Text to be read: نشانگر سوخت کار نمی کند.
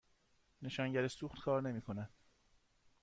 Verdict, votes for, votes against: accepted, 2, 0